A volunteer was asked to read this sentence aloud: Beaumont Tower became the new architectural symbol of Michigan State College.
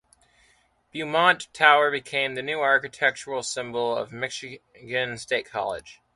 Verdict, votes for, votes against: accepted, 2, 0